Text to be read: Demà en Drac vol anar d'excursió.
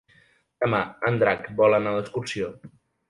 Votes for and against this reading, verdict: 3, 0, accepted